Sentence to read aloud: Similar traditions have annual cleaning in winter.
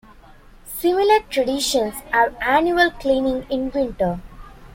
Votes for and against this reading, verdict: 2, 0, accepted